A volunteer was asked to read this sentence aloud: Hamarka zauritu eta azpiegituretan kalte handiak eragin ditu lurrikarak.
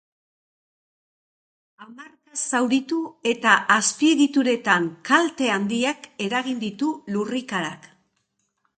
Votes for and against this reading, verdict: 2, 0, accepted